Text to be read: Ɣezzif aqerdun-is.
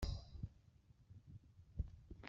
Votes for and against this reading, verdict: 1, 2, rejected